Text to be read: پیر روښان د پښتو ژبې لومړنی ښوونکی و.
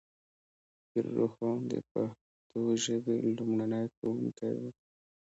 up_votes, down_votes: 0, 2